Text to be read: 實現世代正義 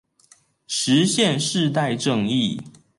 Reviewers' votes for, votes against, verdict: 2, 0, accepted